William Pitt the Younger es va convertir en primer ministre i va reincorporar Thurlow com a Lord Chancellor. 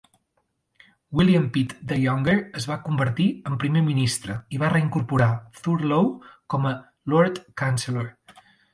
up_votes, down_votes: 2, 0